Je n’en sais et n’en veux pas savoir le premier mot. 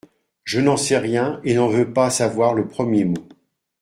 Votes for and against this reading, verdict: 0, 2, rejected